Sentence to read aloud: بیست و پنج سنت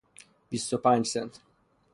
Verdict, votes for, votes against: accepted, 3, 0